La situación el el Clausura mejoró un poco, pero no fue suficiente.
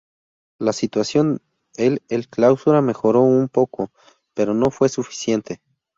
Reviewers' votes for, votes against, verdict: 2, 0, accepted